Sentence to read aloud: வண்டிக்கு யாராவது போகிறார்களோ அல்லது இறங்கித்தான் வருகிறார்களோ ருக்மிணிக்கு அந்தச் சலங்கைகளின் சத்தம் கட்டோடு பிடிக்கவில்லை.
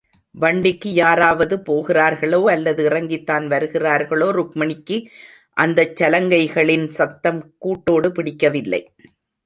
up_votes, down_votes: 0, 2